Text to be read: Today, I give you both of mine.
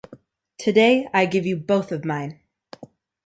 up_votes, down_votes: 2, 0